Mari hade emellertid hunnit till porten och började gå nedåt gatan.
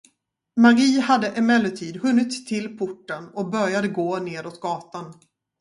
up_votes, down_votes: 4, 0